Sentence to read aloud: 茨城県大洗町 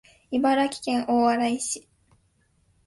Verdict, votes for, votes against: rejected, 0, 2